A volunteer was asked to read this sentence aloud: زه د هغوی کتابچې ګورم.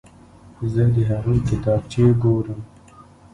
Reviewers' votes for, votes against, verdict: 0, 2, rejected